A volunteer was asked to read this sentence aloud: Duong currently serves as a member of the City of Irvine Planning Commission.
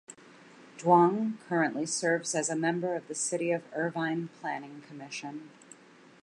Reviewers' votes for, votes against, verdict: 2, 0, accepted